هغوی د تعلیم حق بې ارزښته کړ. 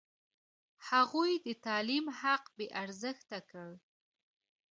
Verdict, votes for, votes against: rejected, 0, 2